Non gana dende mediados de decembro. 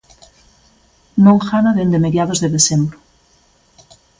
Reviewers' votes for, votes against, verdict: 2, 0, accepted